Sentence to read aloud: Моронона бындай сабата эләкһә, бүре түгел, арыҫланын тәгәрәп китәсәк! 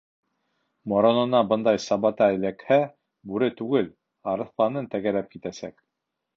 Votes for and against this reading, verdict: 2, 0, accepted